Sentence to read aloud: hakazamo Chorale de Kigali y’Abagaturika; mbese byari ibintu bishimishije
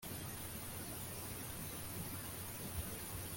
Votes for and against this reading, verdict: 0, 2, rejected